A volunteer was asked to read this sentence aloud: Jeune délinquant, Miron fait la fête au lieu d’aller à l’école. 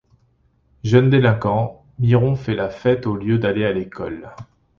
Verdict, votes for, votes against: accepted, 2, 0